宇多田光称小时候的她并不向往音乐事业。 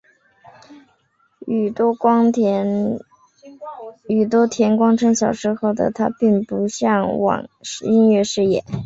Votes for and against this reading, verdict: 7, 1, accepted